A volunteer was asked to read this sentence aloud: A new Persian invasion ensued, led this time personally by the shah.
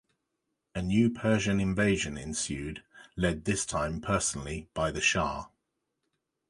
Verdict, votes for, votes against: accepted, 2, 0